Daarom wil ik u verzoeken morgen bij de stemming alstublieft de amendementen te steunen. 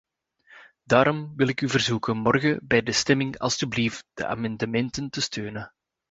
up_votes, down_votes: 2, 0